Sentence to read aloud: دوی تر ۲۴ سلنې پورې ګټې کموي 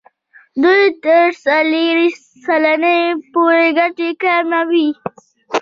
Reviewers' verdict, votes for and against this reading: rejected, 0, 2